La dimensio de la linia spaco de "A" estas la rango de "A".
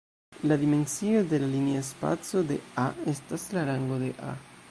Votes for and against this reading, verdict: 0, 2, rejected